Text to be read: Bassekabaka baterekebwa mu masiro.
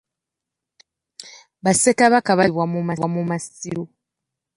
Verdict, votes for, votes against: rejected, 1, 2